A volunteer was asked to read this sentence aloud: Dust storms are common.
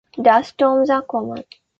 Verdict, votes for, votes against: accepted, 2, 0